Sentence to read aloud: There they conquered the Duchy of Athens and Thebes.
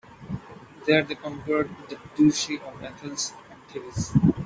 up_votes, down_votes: 1, 2